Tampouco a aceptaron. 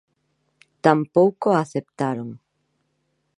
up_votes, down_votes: 2, 0